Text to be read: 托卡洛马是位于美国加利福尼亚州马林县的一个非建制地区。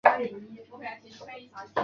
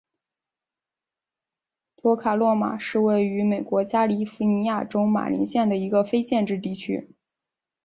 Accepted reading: second